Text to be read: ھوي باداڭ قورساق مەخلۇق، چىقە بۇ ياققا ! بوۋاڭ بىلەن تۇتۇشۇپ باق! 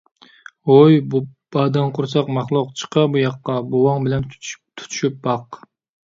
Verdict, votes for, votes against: rejected, 0, 2